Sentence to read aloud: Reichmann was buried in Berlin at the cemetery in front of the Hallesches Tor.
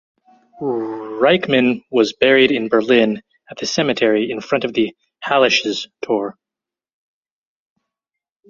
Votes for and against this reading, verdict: 2, 2, rejected